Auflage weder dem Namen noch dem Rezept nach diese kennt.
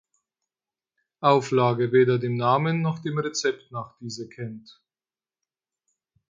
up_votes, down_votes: 4, 0